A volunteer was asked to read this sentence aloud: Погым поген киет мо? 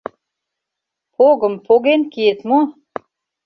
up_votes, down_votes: 2, 0